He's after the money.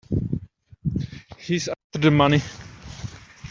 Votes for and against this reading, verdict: 0, 2, rejected